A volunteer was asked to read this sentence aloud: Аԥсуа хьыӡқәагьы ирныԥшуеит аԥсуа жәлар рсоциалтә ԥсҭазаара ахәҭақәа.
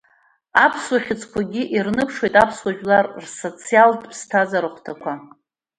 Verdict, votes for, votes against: accepted, 2, 0